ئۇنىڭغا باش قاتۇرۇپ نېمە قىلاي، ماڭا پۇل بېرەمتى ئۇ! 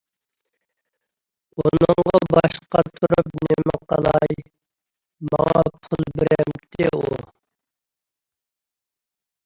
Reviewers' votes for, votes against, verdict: 1, 2, rejected